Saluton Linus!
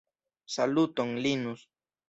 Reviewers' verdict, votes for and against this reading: accepted, 2, 0